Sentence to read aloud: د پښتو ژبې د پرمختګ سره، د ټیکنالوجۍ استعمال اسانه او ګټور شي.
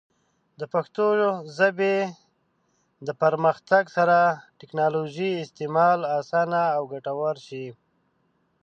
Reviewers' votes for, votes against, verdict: 0, 2, rejected